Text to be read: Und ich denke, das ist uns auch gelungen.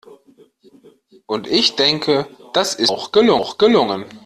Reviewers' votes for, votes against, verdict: 0, 2, rejected